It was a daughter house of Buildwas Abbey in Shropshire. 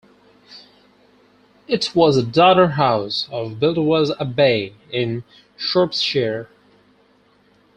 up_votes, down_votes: 2, 6